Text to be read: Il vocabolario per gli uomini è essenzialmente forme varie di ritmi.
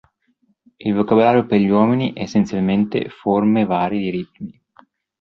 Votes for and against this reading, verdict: 1, 2, rejected